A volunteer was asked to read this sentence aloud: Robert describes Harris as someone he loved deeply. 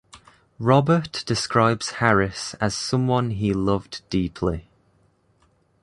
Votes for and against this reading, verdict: 2, 0, accepted